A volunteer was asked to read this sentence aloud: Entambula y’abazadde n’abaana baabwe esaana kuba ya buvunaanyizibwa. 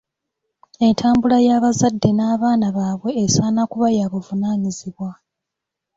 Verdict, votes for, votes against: rejected, 0, 2